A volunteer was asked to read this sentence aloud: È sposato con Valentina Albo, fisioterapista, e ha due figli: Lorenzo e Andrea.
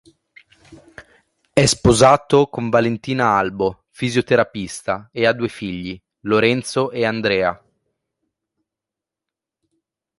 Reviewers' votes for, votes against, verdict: 2, 0, accepted